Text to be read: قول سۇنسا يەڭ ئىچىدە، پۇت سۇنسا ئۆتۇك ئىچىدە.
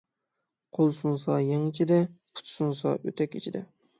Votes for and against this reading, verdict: 3, 6, rejected